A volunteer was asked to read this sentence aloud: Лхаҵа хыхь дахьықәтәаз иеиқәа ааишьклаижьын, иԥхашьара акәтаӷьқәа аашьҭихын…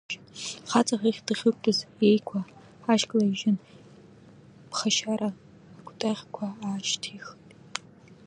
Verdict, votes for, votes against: rejected, 0, 2